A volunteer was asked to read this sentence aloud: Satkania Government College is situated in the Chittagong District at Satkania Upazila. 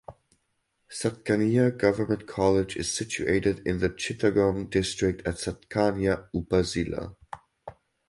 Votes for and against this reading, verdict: 4, 2, accepted